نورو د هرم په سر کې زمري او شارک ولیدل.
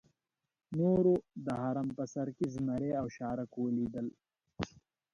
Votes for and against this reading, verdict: 0, 2, rejected